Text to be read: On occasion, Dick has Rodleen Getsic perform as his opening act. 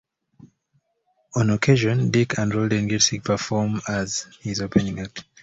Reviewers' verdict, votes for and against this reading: rejected, 1, 2